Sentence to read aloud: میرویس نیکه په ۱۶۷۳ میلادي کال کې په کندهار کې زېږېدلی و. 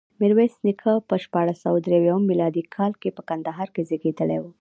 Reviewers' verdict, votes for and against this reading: rejected, 0, 2